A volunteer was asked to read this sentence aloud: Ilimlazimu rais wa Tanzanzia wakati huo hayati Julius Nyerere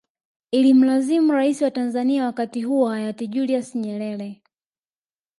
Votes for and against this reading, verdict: 2, 0, accepted